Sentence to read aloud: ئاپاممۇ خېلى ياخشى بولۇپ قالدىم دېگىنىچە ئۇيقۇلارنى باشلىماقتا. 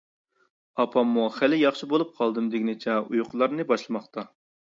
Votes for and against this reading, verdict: 2, 0, accepted